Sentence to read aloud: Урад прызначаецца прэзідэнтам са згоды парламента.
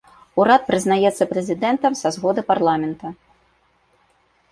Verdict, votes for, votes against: rejected, 1, 2